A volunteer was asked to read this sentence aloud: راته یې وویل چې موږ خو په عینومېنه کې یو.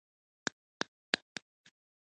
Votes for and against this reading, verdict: 2, 0, accepted